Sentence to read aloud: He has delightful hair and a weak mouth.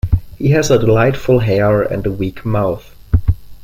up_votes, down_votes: 0, 2